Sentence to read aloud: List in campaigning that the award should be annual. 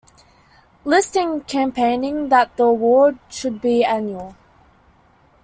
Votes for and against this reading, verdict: 2, 0, accepted